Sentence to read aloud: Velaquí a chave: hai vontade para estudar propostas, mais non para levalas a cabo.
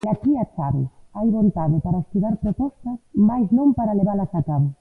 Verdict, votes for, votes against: rejected, 0, 2